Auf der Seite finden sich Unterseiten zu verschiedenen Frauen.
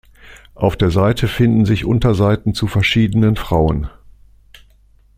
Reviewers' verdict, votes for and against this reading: accepted, 2, 0